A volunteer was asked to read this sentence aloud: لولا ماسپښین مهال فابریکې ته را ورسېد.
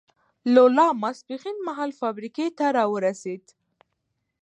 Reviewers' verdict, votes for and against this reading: rejected, 1, 2